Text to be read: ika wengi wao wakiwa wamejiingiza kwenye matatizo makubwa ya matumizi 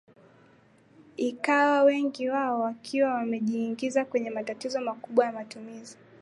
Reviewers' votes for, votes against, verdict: 3, 3, rejected